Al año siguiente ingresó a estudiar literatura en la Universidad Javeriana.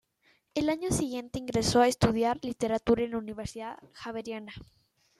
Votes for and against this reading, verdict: 2, 1, accepted